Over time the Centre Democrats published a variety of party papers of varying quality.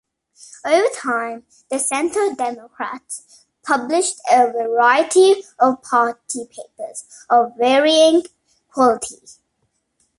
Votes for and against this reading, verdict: 2, 0, accepted